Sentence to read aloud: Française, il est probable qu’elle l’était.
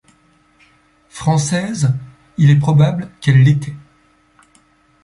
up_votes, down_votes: 2, 0